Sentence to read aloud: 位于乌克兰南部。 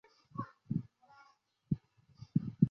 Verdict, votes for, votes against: rejected, 0, 2